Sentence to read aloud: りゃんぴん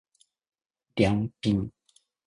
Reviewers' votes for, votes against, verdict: 1, 2, rejected